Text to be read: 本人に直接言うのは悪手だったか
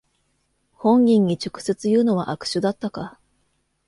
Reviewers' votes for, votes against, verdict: 2, 0, accepted